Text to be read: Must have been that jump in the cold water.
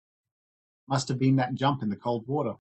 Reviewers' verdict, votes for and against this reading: accepted, 3, 0